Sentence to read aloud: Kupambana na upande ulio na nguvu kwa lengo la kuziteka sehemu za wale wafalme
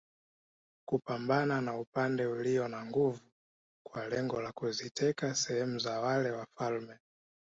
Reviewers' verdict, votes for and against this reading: accepted, 2, 0